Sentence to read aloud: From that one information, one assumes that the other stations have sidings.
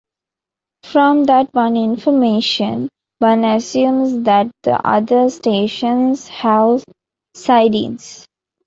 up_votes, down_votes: 2, 0